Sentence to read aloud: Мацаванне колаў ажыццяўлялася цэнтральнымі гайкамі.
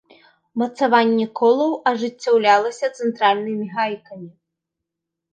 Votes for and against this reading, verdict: 3, 0, accepted